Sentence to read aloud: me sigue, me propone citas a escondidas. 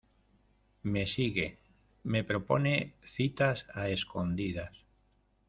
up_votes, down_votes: 2, 0